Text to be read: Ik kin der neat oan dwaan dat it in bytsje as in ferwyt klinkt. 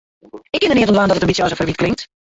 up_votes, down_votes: 0, 2